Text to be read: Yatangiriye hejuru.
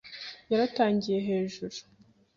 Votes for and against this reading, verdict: 0, 2, rejected